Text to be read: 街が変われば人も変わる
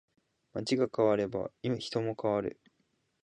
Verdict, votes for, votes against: accepted, 3, 1